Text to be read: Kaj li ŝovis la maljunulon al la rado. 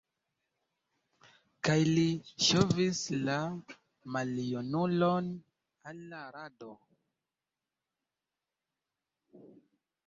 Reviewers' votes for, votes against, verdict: 0, 2, rejected